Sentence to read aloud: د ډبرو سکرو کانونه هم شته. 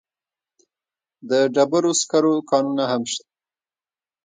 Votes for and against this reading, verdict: 2, 0, accepted